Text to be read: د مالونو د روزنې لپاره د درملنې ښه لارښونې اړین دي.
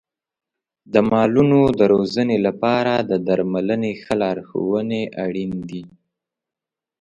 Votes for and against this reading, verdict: 3, 0, accepted